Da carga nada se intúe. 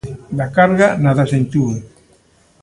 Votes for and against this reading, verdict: 1, 2, rejected